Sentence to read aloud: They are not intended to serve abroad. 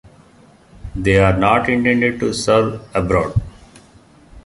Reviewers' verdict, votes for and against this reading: accepted, 2, 0